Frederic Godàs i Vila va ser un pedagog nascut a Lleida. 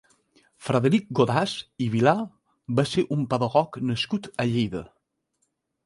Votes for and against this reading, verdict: 0, 2, rejected